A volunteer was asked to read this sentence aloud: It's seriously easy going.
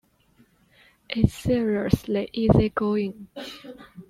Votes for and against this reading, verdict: 1, 2, rejected